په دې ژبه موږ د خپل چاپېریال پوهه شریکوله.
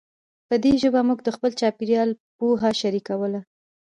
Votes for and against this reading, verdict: 1, 2, rejected